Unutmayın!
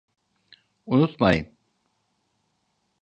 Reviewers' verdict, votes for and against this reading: accepted, 3, 0